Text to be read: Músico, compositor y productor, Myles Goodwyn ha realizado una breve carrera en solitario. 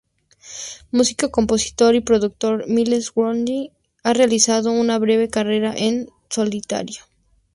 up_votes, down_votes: 4, 0